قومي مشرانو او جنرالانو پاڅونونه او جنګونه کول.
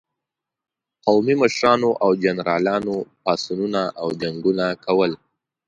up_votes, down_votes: 2, 0